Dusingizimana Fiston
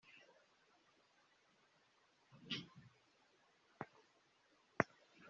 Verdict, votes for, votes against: rejected, 0, 2